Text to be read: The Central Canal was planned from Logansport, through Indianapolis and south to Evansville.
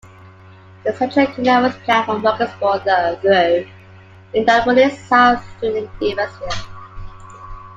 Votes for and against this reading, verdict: 1, 2, rejected